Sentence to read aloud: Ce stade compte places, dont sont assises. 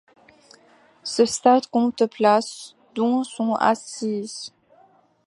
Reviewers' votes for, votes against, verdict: 2, 0, accepted